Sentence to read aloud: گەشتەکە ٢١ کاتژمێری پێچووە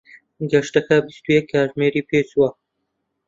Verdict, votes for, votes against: rejected, 0, 2